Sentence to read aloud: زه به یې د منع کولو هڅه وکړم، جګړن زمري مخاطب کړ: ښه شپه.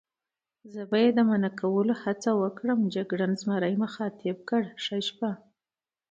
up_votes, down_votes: 2, 0